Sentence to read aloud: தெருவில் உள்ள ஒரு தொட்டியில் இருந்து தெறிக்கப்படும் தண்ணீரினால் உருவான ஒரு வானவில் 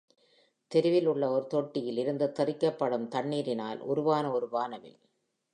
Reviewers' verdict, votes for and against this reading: accepted, 2, 0